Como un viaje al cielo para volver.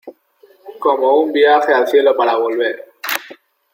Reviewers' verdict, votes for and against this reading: accepted, 2, 0